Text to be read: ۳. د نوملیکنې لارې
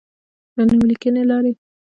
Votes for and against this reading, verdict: 0, 2, rejected